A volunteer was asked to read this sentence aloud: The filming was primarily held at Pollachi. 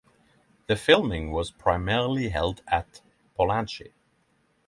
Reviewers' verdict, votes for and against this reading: accepted, 3, 0